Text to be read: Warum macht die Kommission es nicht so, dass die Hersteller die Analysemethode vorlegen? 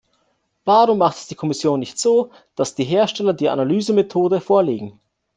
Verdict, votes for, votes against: rejected, 1, 2